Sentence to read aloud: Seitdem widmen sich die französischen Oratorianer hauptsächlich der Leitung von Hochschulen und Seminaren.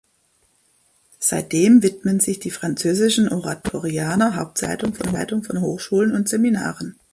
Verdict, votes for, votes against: rejected, 0, 2